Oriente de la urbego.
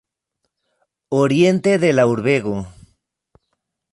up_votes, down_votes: 2, 0